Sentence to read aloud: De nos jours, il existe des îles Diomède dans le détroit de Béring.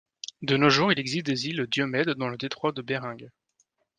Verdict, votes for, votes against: rejected, 1, 2